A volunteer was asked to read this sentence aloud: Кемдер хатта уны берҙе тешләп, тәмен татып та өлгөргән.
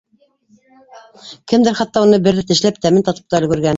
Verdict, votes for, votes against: rejected, 0, 2